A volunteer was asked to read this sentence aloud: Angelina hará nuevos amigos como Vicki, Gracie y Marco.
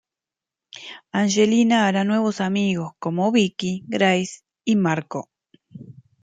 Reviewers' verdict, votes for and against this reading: rejected, 1, 2